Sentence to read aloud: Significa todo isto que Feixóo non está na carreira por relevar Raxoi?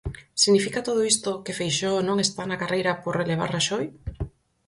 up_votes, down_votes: 4, 0